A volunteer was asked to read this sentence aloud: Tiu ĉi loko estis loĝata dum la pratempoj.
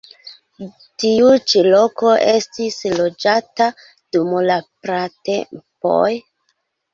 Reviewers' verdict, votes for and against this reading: accepted, 2, 0